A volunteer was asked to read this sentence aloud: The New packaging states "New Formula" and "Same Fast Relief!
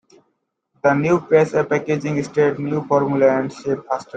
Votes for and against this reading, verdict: 0, 2, rejected